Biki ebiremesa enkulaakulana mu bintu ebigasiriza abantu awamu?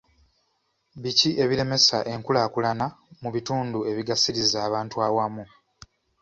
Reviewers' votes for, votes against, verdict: 1, 2, rejected